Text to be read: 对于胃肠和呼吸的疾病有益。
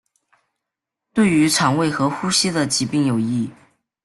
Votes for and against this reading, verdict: 1, 2, rejected